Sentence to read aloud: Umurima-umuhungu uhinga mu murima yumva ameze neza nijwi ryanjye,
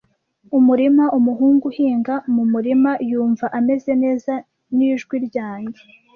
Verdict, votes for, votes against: rejected, 1, 2